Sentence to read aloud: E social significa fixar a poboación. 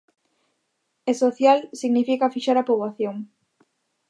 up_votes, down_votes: 2, 0